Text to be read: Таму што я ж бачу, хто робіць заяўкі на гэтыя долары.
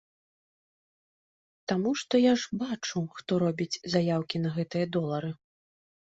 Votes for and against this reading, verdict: 3, 0, accepted